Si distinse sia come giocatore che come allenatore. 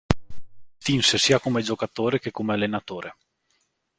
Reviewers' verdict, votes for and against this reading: rejected, 0, 2